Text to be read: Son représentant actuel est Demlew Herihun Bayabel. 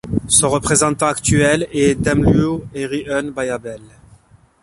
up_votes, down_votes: 2, 0